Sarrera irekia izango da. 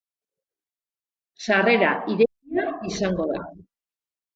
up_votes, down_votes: 0, 2